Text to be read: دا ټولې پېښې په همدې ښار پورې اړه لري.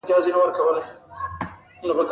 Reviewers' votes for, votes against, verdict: 1, 2, rejected